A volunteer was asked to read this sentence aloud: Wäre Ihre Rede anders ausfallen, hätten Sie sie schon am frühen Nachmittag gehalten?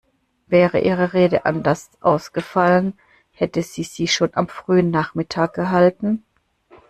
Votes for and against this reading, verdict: 1, 2, rejected